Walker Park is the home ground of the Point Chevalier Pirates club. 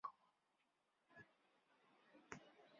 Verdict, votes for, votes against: rejected, 0, 2